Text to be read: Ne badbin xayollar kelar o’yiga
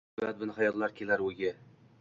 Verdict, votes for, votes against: accepted, 2, 0